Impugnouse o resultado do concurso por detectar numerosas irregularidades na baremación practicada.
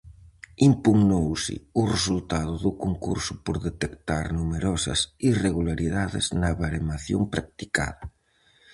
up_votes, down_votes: 4, 0